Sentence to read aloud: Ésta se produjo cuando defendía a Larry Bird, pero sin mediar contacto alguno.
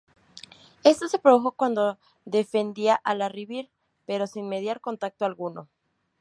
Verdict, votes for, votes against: rejected, 0, 4